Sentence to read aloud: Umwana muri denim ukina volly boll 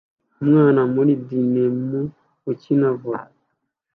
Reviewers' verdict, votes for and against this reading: accepted, 2, 1